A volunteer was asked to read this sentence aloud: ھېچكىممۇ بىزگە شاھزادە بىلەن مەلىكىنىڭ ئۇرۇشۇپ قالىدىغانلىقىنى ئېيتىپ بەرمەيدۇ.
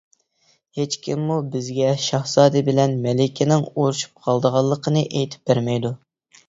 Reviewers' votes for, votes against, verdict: 2, 0, accepted